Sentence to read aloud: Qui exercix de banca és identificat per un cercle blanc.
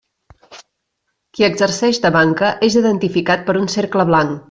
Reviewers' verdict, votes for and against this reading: rejected, 0, 2